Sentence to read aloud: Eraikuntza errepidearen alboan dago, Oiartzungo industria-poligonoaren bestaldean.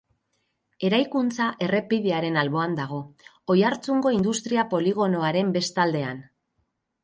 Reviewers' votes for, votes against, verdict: 6, 0, accepted